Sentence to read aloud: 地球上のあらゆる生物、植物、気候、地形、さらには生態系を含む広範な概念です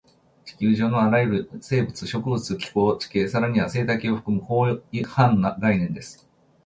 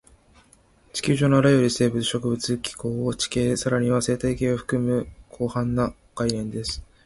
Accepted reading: second